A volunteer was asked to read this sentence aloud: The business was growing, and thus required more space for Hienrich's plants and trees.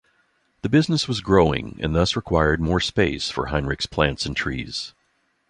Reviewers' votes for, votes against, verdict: 2, 1, accepted